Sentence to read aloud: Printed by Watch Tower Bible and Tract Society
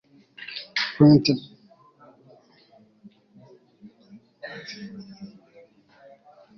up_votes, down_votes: 3, 4